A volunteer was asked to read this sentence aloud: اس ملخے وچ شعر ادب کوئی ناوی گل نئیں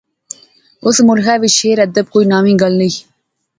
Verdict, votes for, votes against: accepted, 2, 0